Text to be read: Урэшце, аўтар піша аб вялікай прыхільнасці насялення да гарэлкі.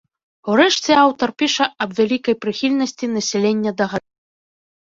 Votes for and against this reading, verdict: 0, 2, rejected